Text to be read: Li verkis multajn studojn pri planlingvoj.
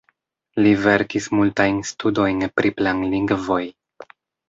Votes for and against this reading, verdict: 2, 0, accepted